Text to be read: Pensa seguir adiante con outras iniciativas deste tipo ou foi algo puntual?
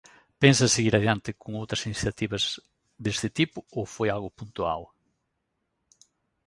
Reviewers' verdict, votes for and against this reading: accepted, 2, 1